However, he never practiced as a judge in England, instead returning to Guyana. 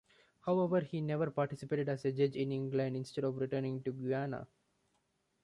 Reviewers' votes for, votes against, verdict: 1, 2, rejected